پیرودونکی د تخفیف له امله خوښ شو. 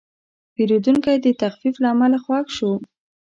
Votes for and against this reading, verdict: 2, 0, accepted